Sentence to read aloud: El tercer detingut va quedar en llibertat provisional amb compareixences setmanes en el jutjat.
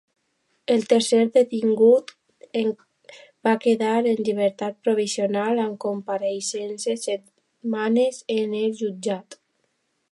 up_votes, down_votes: 0, 2